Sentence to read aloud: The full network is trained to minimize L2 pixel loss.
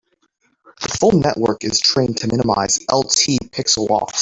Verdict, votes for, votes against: rejected, 0, 2